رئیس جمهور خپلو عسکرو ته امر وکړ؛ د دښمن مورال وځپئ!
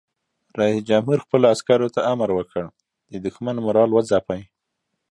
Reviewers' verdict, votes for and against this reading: accepted, 2, 0